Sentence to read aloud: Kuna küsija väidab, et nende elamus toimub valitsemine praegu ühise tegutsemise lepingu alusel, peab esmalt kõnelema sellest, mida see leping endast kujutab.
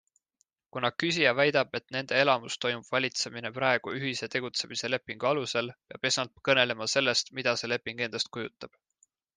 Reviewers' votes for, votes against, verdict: 2, 1, accepted